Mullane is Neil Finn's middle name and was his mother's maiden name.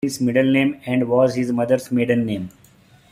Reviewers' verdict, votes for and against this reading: rejected, 1, 2